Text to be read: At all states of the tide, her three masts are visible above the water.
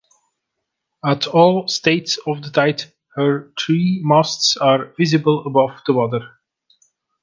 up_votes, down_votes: 2, 3